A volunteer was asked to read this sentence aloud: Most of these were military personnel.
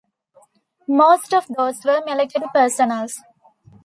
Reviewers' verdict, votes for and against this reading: rejected, 1, 2